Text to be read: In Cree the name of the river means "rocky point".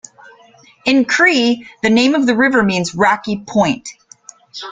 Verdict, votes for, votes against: accepted, 2, 0